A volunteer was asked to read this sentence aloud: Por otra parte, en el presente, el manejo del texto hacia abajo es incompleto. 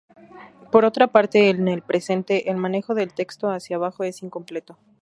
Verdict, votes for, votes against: accepted, 4, 0